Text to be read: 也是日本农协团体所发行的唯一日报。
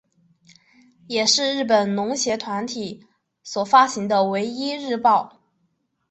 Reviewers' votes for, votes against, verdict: 2, 0, accepted